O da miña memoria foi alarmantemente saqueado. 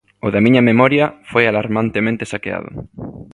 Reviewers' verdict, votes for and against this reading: accepted, 2, 0